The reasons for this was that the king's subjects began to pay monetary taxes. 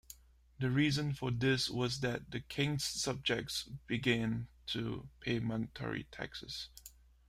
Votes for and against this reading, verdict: 2, 1, accepted